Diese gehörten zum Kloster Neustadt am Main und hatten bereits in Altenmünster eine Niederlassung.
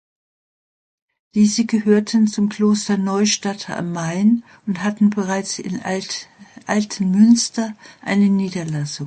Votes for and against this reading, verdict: 0, 2, rejected